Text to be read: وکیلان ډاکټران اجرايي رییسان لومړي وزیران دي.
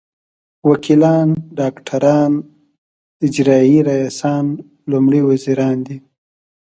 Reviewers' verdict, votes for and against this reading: accepted, 2, 1